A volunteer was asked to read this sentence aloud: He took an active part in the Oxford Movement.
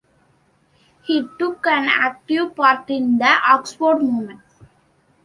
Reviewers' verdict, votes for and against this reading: rejected, 0, 2